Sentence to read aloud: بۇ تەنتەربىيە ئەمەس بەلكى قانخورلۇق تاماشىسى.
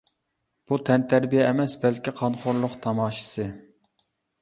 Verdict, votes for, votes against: accepted, 2, 0